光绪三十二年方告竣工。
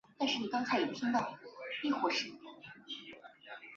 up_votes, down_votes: 1, 2